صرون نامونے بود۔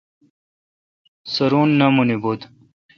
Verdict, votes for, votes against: rejected, 0, 2